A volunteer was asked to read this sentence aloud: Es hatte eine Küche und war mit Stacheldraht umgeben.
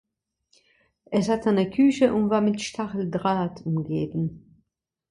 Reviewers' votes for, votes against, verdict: 1, 2, rejected